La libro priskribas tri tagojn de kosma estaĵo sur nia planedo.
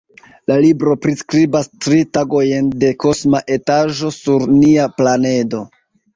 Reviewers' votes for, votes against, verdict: 2, 1, accepted